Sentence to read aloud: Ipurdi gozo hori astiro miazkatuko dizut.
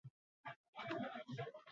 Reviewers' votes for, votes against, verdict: 0, 6, rejected